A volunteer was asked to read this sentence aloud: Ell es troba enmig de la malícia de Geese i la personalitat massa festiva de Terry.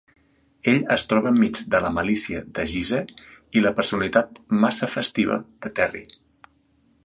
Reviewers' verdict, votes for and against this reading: accepted, 2, 0